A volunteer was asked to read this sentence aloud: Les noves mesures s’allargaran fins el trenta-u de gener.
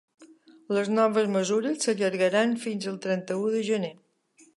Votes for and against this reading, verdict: 2, 0, accepted